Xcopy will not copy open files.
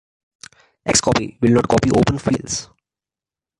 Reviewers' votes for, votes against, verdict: 2, 0, accepted